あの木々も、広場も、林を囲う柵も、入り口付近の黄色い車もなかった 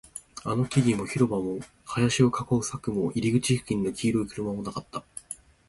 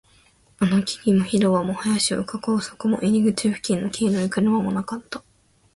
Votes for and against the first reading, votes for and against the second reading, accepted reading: 2, 0, 0, 2, first